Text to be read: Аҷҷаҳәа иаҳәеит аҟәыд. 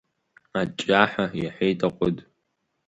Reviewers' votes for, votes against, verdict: 3, 1, accepted